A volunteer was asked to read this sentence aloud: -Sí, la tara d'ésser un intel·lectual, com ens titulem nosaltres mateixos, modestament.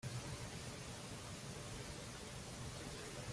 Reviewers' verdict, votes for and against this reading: rejected, 0, 2